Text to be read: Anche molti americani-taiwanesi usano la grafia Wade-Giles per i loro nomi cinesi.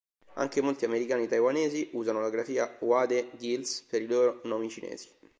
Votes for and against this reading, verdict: 2, 1, accepted